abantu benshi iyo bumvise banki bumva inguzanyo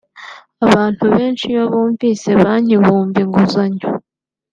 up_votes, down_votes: 0, 2